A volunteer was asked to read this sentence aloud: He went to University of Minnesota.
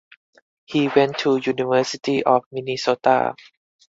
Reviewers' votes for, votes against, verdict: 4, 0, accepted